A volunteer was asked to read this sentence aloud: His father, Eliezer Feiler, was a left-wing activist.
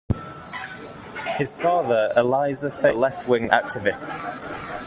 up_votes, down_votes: 0, 2